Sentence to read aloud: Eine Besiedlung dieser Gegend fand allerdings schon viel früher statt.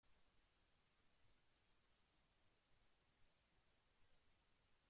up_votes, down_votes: 0, 2